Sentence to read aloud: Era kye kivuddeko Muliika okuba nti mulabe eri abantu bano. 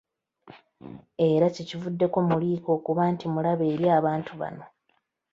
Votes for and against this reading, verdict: 0, 2, rejected